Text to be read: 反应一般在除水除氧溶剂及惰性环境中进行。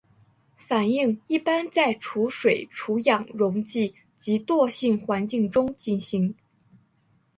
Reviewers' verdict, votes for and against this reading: accepted, 3, 0